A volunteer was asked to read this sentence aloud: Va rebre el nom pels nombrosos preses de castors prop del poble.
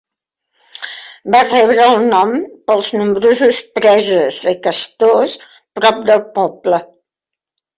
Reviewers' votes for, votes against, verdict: 2, 0, accepted